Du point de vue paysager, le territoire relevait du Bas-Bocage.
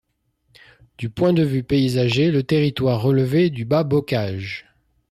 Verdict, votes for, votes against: accepted, 2, 0